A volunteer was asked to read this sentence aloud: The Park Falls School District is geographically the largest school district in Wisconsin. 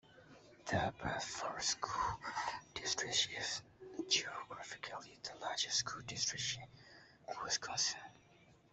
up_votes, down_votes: 0, 2